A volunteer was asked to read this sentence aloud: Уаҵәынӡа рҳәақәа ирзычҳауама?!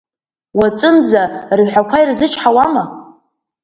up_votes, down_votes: 2, 0